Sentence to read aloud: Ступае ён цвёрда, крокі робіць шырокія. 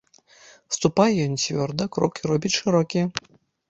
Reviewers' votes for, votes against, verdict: 2, 0, accepted